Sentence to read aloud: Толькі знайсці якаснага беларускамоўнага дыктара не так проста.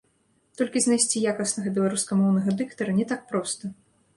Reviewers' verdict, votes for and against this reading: rejected, 1, 2